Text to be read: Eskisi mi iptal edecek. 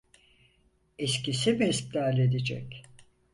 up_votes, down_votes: 2, 4